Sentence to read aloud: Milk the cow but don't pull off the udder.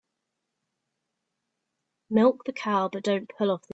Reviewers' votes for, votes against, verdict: 0, 2, rejected